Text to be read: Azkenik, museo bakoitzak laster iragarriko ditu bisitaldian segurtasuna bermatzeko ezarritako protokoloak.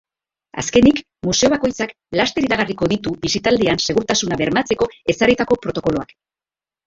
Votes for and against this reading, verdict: 0, 2, rejected